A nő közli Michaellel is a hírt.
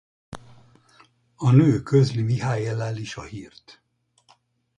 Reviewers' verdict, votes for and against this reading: rejected, 0, 2